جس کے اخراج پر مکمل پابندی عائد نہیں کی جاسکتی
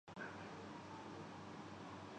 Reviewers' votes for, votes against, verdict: 0, 10, rejected